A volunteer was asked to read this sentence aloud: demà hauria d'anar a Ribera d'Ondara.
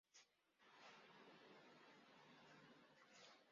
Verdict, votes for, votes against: rejected, 0, 2